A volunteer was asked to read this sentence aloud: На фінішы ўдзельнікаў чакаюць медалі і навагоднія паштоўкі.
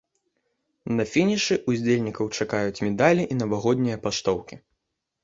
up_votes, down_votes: 0, 2